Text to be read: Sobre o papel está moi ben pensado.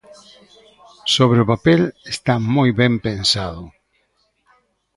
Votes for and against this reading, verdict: 1, 2, rejected